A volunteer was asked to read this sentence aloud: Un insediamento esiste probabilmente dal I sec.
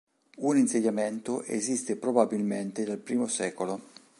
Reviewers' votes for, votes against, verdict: 1, 2, rejected